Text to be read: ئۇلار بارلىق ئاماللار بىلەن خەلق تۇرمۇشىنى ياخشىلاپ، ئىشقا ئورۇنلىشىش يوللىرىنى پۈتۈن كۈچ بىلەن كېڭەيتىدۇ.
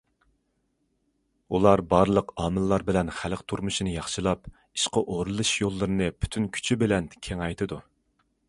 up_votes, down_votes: 0, 2